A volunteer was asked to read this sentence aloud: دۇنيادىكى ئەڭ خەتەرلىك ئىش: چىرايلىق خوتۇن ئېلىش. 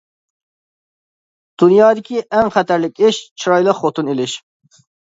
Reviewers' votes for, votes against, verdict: 2, 0, accepted